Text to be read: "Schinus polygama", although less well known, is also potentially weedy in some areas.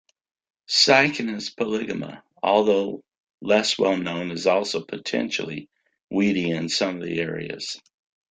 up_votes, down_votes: 1, 2